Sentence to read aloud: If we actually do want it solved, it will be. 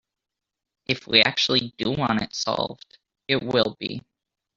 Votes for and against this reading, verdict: 1, 2, rejected